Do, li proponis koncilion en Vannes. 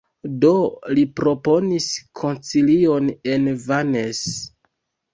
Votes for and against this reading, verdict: 1, 2, rejected